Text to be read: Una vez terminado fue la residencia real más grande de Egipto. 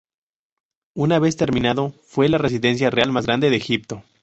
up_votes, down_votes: 2, 0